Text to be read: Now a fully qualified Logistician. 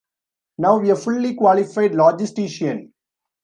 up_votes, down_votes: 0, 2